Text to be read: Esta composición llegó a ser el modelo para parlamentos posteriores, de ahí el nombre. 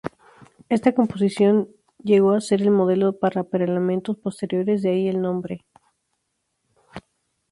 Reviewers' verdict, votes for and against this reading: rejected, 0, 2